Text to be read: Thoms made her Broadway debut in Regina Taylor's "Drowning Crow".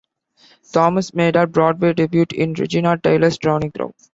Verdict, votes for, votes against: accepted, 2, 1